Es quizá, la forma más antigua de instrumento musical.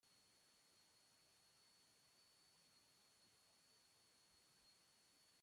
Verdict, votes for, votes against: rejected, 0, 2